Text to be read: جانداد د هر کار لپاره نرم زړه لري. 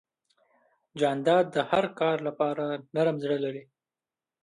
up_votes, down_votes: 1, 2